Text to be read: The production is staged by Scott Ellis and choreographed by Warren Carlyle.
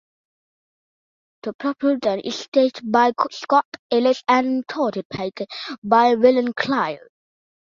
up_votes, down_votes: 0, 2